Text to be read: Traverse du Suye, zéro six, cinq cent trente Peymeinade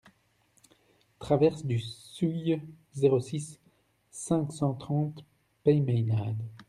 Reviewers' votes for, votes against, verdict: 1, 2, rejected